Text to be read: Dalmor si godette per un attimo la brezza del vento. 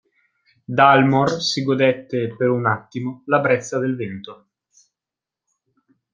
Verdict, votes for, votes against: accepted, 2, 0